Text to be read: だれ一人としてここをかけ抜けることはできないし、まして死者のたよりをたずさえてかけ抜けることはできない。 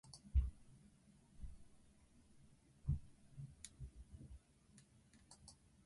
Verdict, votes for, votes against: rejected, 0, 2